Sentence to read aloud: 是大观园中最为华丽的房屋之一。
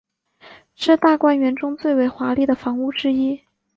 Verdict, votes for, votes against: accepted, 3, 0